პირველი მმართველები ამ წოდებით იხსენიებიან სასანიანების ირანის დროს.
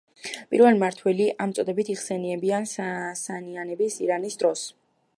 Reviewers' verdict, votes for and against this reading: rejected, 2, 3